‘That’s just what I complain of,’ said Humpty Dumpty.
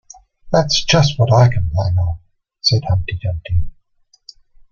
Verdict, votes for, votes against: accepted, 2, 0